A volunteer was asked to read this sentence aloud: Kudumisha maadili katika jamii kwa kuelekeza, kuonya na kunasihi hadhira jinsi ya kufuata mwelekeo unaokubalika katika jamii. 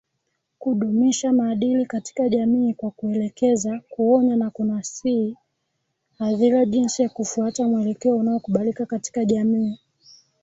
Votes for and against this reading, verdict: 1, 2, rejected